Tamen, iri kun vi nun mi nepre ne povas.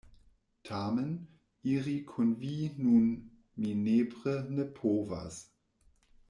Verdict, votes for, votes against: accepted, 2, 0